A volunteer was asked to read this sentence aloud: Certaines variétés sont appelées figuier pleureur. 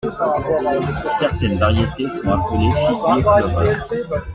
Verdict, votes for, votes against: accepted, 2, 0